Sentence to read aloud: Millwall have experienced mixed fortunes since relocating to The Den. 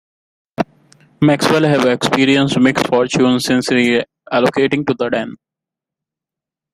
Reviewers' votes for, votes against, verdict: 0, 2, rejected